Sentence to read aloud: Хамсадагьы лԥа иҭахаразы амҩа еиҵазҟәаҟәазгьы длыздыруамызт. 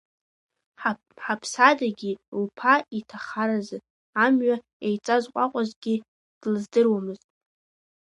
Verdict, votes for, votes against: rejected, 1, 2